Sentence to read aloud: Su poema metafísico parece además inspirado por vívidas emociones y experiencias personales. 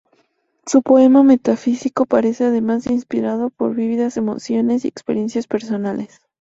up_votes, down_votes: 2, 0